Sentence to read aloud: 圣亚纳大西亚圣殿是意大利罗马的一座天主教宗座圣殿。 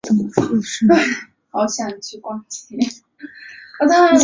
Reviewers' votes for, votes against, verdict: 0, 2, rejected